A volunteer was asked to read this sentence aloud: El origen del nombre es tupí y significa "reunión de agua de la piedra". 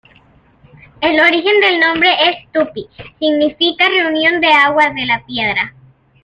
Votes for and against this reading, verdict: 1, 2, rejected